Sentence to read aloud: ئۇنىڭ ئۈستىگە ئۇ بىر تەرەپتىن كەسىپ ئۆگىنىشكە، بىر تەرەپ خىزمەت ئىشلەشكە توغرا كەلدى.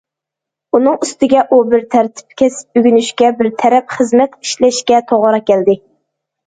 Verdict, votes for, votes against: rejected, 1, 2